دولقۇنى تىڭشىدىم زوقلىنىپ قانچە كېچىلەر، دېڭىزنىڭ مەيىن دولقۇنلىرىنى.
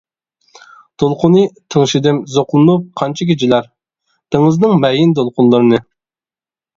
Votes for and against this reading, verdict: 1, 2, rejected